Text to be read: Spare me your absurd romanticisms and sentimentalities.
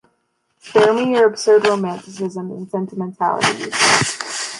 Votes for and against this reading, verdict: 0, 2, rejected